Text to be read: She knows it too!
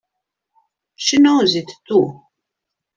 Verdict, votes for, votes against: accepted, 2, 0